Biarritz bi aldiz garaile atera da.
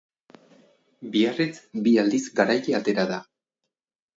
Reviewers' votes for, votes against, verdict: 2, 2, rejected